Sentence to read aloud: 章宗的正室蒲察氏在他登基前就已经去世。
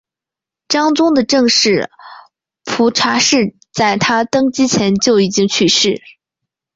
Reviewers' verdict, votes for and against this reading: accepted, 2, 0